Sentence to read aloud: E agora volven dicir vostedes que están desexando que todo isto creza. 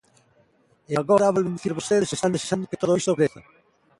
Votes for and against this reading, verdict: 1, 2, rejected